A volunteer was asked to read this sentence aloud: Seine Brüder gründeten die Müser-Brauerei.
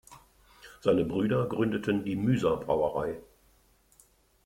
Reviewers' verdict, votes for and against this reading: accepted, 2, 0